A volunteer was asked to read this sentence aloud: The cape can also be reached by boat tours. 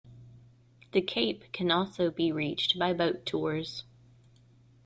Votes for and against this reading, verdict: 2, 0, accepted